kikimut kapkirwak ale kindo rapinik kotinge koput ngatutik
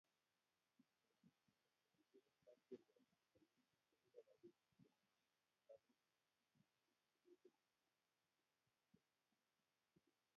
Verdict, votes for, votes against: rejected, 0, 2